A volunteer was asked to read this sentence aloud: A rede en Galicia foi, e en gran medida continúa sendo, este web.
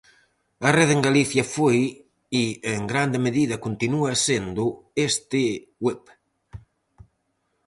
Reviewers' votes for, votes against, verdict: 2, 2, rejected